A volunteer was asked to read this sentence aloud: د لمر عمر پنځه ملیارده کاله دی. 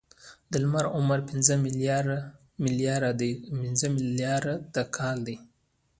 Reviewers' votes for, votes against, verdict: 0, 2, rejected